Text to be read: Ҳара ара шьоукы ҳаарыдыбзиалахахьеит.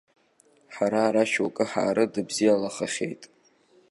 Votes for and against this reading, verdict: 2, 0, accepted